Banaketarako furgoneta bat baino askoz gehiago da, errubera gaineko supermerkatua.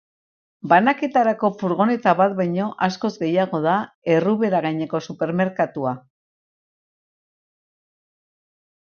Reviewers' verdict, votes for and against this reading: accepted, 4, 0